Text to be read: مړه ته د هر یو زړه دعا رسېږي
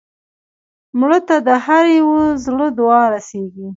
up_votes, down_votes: 2, 0